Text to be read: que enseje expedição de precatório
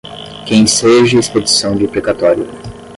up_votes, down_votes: 10, 5